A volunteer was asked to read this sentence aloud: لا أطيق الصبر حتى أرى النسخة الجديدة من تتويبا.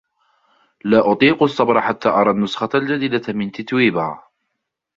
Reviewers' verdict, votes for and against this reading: accepted, 2, 0